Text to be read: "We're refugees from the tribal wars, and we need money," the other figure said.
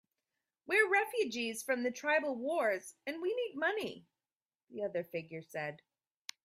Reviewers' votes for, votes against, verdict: 3, 0, accepted